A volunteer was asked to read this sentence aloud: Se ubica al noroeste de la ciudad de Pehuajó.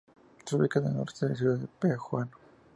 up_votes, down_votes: 2, 0